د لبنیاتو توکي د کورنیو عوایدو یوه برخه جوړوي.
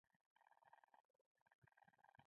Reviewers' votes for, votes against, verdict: 1, 2, rejected